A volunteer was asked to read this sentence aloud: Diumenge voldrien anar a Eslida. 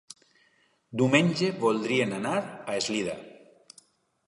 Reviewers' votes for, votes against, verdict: 3, 1, accepted